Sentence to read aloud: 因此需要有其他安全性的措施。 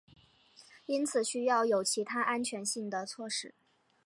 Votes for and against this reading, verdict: 3, 0, accepted